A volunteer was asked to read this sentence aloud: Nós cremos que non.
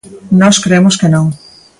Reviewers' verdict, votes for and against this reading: accepted, 2, 0